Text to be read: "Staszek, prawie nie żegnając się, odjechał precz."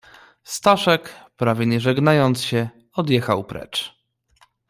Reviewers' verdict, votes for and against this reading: accepted, 2, 0